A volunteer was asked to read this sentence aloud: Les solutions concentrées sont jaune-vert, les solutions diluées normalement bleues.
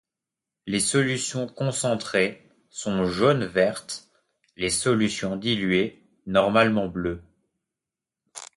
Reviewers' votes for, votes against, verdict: 1, 2, rejected